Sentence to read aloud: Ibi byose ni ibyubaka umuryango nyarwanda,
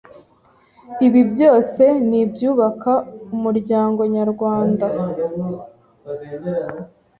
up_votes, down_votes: 2, 0